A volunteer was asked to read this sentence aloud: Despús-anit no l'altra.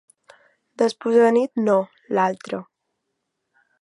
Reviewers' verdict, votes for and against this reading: accepted, 2, 0